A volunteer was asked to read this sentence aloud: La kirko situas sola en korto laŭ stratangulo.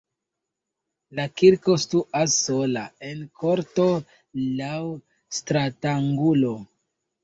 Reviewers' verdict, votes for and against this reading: rejected, 0, 2